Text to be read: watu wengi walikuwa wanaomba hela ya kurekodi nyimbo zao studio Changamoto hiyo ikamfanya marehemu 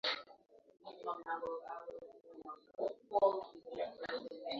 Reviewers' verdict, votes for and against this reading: accepted, 2, 1